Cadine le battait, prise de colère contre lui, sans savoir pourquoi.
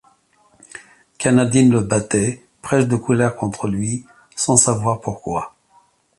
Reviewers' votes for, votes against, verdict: 0, 2, rejected